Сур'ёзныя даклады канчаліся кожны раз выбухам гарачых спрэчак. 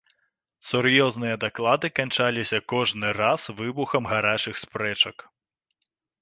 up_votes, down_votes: 2, 0